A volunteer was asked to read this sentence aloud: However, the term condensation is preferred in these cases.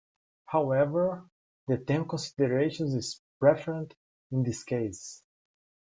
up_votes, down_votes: 1, 2